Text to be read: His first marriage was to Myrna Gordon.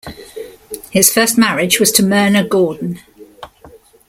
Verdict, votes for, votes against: accepted, 2, 0